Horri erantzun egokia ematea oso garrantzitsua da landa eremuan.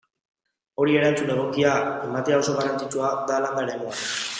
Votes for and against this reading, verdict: 0, 2, rejected